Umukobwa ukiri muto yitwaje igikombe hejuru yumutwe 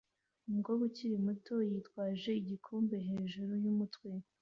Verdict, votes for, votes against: accepted, 2, 0